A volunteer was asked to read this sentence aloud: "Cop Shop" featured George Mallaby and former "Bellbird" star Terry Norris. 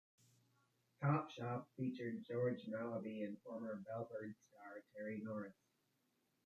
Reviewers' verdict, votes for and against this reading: accepted, 2, 1